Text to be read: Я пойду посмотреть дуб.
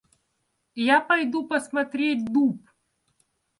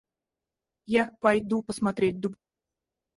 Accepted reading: first